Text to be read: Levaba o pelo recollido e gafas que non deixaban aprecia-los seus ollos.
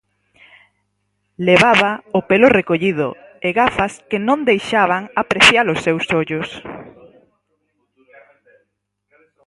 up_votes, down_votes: 4, 2